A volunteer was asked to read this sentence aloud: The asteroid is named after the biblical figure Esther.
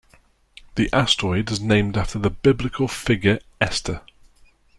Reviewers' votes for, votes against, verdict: 3, 0, accepted